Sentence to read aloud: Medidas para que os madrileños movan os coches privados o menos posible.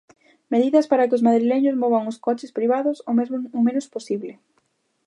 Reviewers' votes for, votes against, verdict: 0, 2, rejected